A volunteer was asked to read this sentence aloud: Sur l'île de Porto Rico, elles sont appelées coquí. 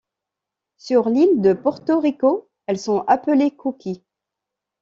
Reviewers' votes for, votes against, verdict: 2, 0, accepted